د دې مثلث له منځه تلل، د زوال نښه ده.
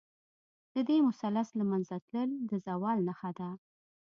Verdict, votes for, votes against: accepted, 2, 0